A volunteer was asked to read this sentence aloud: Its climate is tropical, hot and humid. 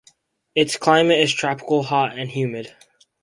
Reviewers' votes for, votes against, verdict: 2, 2, rejected